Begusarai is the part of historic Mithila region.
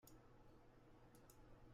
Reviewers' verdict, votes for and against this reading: rejected, 0, 2